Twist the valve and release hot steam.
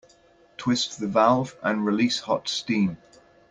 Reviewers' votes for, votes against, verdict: 2, 0, accepted